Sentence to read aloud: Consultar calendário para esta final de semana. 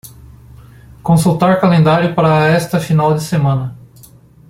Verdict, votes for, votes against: accepted, 2, 0